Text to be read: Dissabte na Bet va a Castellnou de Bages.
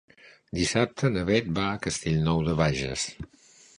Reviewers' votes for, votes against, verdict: 2, 0, accepted